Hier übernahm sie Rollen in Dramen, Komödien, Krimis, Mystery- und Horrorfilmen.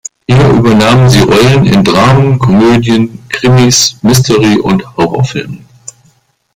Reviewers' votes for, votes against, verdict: 2, 0, accepted